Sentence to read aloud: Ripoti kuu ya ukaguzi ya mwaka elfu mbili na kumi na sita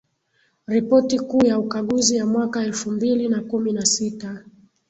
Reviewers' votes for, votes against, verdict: 2, 2, rejected